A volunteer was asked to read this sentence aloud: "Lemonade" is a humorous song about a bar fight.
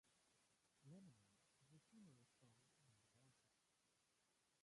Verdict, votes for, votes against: rejected, 0, 2